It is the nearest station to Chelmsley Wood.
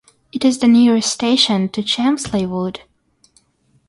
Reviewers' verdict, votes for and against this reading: accepted, 6, 0